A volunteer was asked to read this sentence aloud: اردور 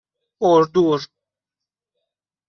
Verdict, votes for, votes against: accepted, 2, 0